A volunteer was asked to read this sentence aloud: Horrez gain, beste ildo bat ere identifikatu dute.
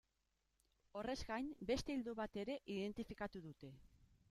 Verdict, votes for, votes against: accepted, 3, 1